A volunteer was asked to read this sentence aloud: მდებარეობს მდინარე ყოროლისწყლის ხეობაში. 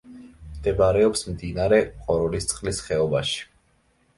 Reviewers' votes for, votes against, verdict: 2, 0, accepted